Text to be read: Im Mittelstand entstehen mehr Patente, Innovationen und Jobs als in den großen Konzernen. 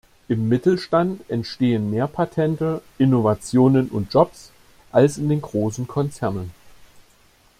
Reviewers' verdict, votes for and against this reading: accepted, 2, 0